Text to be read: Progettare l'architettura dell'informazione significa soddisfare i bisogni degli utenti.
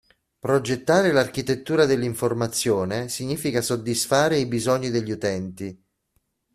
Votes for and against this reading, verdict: 2, 0, accepted